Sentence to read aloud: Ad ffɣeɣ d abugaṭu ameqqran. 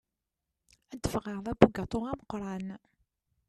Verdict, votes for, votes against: accepted, 2, 0